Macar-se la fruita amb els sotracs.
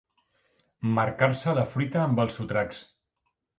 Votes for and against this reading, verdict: 1, 2, rejected